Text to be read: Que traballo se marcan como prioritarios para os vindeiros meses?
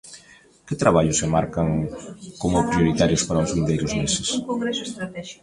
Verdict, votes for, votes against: rejected, 0, 2